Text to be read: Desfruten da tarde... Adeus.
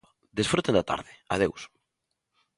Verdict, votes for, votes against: rejected, 0, 2